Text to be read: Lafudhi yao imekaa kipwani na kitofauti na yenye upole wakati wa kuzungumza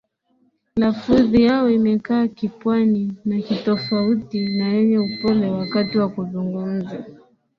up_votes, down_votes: 2, 0